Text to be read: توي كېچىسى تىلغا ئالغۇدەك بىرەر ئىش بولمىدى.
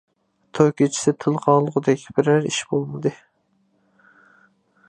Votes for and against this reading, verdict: 1, 2, rejected